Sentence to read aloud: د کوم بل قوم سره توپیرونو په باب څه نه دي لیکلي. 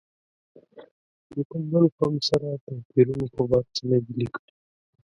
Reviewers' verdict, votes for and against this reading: rejected, 1, 2